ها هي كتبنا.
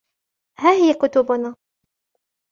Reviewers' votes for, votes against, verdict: 2, 0, accepted